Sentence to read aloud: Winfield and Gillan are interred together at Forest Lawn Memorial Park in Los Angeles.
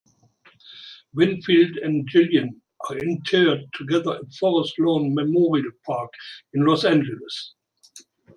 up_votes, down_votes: 1, 2